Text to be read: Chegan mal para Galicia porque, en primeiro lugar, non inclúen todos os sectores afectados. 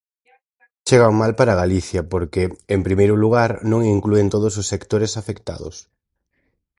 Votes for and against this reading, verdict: 4, 0, accepted